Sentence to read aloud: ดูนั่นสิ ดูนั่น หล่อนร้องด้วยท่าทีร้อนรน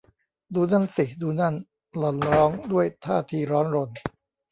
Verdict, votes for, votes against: rejected, 1, 2